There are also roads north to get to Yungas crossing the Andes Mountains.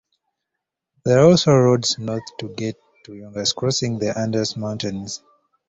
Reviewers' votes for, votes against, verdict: 1, 2, rejected